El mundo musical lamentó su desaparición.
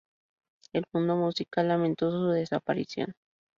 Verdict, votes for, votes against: accepted, 2, 0